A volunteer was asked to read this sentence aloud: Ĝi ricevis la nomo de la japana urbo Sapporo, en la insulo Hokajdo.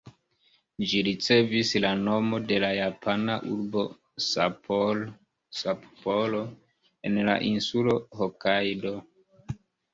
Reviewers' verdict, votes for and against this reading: accepted, 2, 0